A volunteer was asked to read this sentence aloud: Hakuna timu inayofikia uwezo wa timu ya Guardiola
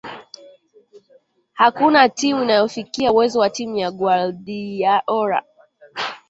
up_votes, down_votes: 1, 2